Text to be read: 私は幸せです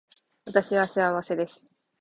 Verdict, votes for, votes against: accepted, 5, 0